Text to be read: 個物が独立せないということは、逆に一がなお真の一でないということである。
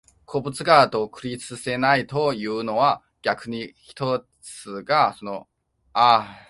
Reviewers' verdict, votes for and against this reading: rejected, 0, 2